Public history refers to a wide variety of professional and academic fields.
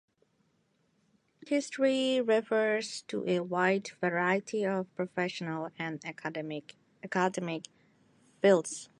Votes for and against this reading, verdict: 0, 2, rejected